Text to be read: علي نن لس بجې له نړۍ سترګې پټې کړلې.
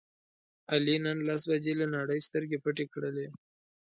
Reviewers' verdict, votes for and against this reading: accepted, 2, 0